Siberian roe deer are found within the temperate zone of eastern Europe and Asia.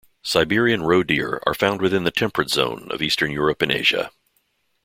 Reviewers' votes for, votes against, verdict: 2, 0, accepted